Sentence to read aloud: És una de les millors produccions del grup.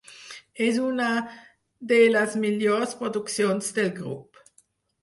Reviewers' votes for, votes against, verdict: 4, 0, accepted